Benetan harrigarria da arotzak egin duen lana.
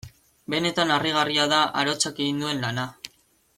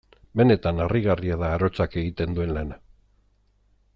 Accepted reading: first